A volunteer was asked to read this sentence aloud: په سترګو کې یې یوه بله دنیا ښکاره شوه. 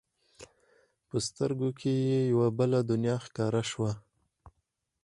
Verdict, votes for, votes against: rejected, 2, 4